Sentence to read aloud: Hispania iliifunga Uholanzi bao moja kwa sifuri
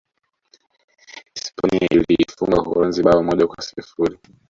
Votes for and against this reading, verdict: 1, 2, rejected